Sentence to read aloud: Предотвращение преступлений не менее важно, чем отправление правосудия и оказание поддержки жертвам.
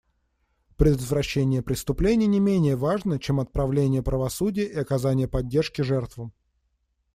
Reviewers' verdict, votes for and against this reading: accepted, 2, 0